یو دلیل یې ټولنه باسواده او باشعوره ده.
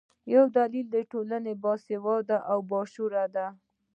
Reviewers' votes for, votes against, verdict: 2, 0, accepted